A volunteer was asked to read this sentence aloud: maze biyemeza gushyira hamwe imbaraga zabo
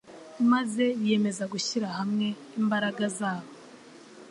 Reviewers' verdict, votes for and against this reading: accepted, 3, 0